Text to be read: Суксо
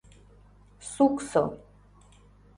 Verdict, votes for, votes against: accepted, 2, 0